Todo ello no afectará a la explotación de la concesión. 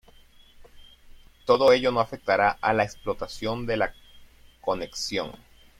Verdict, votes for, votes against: rejected, 1, 2